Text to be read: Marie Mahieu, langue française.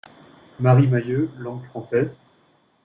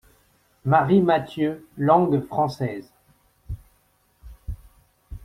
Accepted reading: first